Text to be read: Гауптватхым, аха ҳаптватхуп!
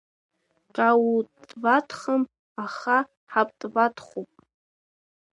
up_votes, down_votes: 1, 2